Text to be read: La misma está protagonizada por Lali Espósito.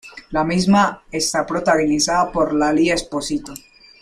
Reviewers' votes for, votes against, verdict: 0, 2, rejected